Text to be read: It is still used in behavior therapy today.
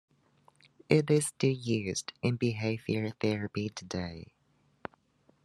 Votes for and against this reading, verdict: 2, 0, accepted